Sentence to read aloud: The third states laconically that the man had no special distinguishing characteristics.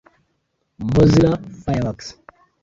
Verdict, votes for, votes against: rejected, 0, 2